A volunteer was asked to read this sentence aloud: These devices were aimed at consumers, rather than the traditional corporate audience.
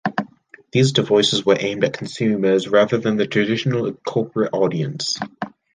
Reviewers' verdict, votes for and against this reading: accepted, 2, 0